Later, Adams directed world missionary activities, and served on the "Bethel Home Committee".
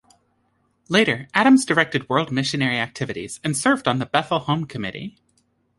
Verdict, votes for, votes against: accepted, 3, 0